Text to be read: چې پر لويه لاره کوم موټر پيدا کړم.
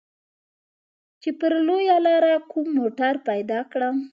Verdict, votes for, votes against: accepted, 2, 0